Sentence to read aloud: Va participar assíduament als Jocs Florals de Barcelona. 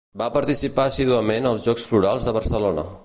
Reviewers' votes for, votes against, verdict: 2, 0, accepted